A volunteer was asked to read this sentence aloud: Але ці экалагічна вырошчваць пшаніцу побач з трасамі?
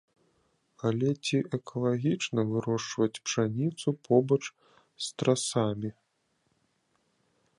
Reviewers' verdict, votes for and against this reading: rejected, 1, 2